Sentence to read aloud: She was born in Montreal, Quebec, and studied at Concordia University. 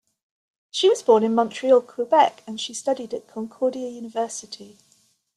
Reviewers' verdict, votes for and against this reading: accepted, 2, 0